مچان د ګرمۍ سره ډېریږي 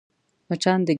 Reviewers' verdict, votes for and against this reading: rejected, 0, 2